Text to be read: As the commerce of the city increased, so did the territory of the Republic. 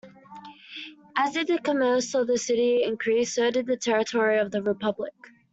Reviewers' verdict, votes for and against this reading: rejected, 1, 2